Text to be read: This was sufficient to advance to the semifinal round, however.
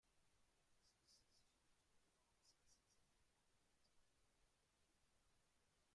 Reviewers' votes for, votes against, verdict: 0, 2, rejected